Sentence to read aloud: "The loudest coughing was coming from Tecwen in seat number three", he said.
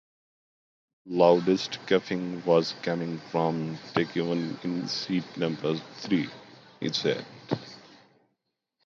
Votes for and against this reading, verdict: 0, 2, rejected